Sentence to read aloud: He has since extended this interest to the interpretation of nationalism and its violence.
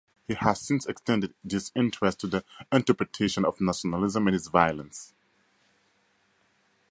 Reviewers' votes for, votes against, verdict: 4, 0, accepted